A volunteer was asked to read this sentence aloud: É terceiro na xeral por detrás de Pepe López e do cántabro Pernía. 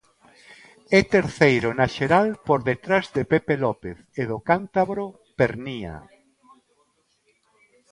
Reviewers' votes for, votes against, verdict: 2, 0, accepted